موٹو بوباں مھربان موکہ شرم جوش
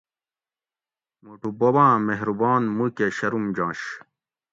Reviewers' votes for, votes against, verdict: 2, 0, accepted